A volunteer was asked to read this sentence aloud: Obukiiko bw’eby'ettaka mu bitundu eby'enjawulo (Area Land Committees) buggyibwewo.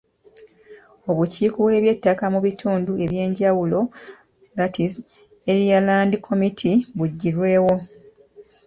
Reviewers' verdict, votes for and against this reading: accepted, 2, 0